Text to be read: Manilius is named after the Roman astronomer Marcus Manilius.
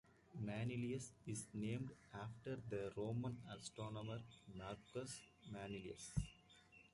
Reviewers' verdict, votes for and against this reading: accepted, 2, 0